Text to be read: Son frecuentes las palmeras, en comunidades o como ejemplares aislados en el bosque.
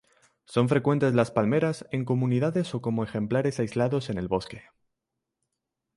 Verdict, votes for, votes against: rejected, 0, 2